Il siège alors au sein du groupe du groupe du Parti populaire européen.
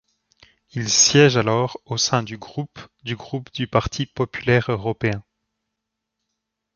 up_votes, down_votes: 2, 0